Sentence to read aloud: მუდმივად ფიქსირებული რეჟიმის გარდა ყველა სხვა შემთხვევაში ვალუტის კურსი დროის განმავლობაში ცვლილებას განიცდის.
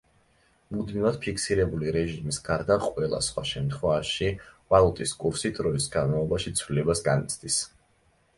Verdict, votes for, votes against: accepted, 2, 0